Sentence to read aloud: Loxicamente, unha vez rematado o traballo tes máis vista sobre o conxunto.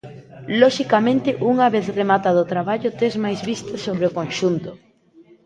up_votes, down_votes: 1, 2